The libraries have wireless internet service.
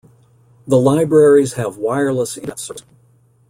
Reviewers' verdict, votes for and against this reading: rejected, 0, 2